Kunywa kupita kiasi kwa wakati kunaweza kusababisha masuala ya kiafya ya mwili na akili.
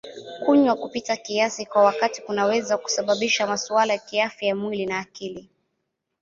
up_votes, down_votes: 2, 0